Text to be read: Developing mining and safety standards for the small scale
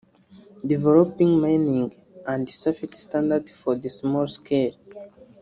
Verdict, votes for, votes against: rejected, 0, 3